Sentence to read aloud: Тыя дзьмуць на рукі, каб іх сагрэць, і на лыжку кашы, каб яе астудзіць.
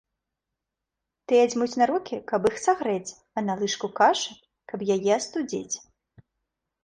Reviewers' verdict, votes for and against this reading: rejected, 1, 2